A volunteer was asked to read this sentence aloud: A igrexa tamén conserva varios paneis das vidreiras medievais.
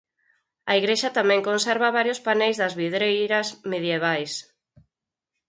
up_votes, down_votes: 4, 0